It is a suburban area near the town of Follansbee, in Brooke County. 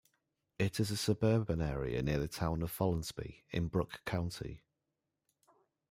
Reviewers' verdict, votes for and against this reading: rejected, 1, 2